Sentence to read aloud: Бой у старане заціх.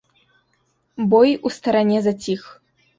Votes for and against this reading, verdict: 3, 0, accepted